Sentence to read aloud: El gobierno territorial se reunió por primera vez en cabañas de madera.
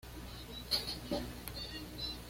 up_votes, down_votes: 1, 2